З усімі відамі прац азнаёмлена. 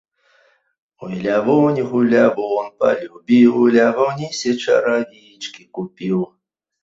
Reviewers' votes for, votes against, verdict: 0, 2, rejected